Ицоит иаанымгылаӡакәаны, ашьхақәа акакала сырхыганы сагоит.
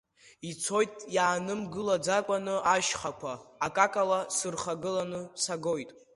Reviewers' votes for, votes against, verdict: 0, 2, rejected